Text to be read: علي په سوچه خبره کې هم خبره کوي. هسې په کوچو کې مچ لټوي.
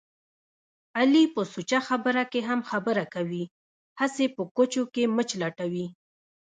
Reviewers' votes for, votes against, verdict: 1, 2, rejected